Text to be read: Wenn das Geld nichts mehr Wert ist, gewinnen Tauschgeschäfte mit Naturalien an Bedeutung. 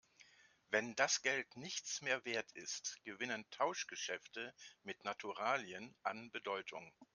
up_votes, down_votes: 2, 0